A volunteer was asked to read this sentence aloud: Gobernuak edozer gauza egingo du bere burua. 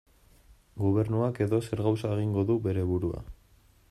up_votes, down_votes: 2, 1